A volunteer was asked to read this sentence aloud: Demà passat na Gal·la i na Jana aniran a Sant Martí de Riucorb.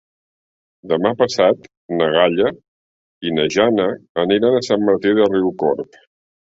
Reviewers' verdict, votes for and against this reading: rejected, 3, 4